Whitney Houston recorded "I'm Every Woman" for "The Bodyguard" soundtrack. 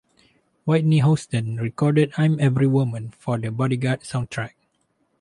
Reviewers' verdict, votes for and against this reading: rejected, 0, 2